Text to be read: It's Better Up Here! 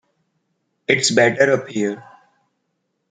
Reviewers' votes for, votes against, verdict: 2, 0, accepted